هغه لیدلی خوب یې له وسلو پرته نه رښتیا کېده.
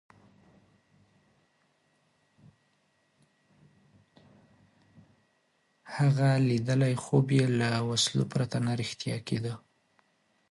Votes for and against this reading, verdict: 1, 2, rejected